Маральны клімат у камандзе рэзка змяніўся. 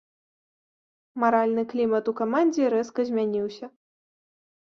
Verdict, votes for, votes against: accepted, 2, 0